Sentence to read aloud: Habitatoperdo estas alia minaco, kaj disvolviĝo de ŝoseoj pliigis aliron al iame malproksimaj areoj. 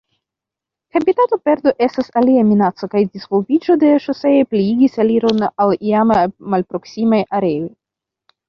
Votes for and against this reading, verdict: 1, 2, rejected